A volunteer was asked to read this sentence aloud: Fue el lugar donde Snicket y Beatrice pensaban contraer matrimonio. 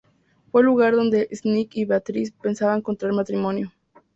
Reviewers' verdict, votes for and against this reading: accepted, 2, 0